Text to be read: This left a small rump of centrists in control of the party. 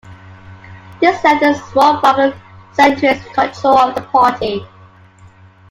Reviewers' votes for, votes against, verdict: 0, 2, rejected